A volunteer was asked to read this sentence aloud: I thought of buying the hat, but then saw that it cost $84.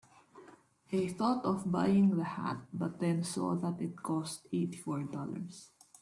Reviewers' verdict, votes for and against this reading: rejected, 0, 2